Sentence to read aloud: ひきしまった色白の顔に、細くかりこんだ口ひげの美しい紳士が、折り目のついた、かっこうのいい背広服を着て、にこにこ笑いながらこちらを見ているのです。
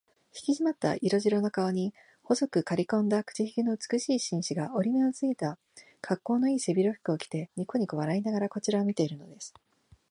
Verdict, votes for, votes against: accepted, 2, 1